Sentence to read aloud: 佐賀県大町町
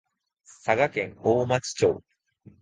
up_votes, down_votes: 2, 0